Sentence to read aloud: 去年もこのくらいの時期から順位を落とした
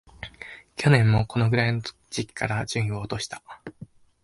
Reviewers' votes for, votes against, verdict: 0, 2, rejected